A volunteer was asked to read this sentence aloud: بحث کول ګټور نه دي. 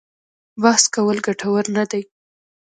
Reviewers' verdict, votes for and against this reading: rejected, 0, 2